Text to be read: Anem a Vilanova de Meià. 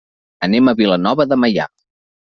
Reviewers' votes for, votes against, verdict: 2, 0, accepted